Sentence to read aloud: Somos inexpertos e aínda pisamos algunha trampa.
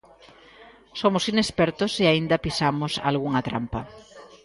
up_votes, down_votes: 2, 0